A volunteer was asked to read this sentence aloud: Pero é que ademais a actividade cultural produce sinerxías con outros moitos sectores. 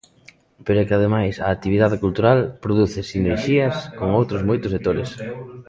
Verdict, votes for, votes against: rejected, 0, 2